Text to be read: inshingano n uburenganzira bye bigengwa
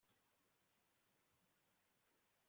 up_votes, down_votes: 3, 4